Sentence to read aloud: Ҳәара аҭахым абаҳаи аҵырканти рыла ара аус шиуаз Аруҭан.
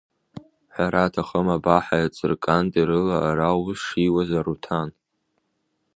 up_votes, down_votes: 1, 2